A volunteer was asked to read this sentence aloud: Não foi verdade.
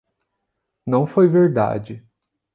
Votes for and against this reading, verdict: 2, 0, accepted